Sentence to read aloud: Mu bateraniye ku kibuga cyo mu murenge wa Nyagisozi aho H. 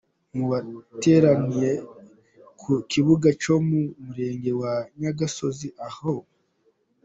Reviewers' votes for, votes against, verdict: 2, 0, accepted